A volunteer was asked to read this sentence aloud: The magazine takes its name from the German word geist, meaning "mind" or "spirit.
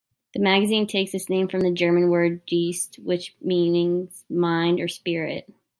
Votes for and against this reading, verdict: 0, 2, rejected